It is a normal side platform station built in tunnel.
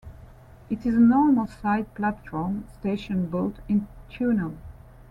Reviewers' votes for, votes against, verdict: 0, 2, rejected